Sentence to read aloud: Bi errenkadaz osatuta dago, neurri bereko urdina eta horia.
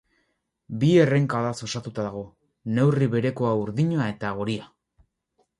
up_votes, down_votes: 4, 2